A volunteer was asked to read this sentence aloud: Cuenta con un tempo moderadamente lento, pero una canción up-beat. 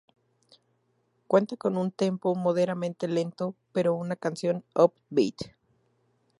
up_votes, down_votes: 0, 2